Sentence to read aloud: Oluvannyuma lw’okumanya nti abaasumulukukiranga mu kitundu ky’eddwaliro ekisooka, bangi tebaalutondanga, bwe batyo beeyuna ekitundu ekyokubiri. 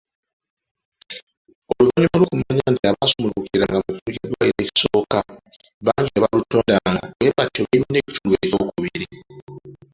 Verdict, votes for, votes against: rejected, 0, 2